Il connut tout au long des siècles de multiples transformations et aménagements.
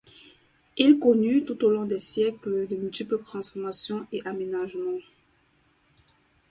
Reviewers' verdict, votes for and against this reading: accepted, 4, 0